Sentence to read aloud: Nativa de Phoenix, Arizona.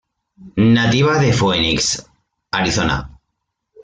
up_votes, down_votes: 1, 2